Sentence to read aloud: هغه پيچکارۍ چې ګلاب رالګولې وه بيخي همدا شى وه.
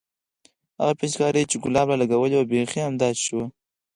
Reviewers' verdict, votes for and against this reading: rejected, 2, 4